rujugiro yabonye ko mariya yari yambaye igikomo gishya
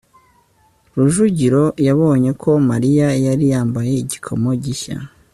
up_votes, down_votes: 5, 0